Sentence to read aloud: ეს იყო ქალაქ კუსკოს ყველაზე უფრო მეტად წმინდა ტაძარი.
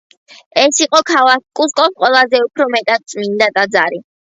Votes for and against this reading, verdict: 2, 0, accepted